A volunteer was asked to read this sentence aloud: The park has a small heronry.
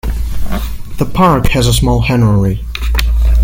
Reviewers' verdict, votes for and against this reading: rejected, 1, 2